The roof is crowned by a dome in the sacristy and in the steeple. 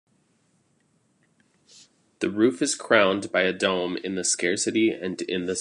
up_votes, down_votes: 1, 2